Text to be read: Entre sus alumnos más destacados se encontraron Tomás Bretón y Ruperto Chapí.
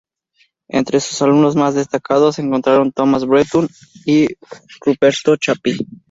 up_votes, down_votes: 0, 2